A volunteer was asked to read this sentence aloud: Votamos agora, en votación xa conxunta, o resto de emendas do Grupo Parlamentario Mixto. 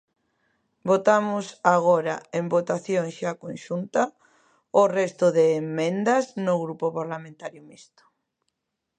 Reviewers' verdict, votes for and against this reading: rejected, 0, 2